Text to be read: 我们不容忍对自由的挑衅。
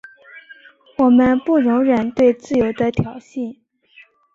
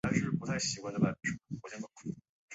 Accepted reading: first